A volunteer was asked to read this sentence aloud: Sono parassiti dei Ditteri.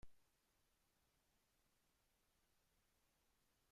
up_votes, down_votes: 1, 2